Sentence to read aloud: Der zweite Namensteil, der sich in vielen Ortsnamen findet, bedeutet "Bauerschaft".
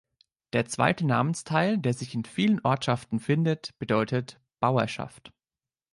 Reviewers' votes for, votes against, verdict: 0, 2, rejected